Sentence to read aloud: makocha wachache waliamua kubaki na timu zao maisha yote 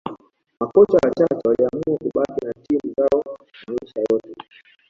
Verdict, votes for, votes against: accepted, 2, 1